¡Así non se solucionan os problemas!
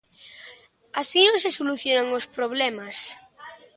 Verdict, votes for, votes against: accepted, 2, 0